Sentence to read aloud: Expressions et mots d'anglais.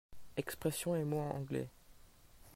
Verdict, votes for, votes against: rejected, 0, 2